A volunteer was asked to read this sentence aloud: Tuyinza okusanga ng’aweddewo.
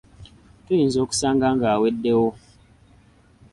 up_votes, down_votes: 2, 0